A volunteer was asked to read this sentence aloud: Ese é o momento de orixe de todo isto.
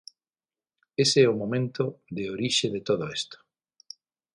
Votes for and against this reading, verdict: 0, 6, rejected